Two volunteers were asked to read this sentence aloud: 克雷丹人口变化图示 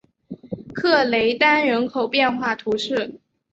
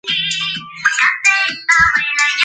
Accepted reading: first